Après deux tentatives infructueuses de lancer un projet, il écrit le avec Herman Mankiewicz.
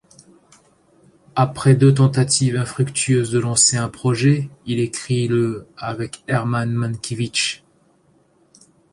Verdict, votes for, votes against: accepted, 2, 0